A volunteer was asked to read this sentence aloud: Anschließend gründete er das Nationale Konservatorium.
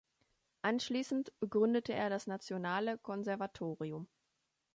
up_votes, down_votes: 2, 0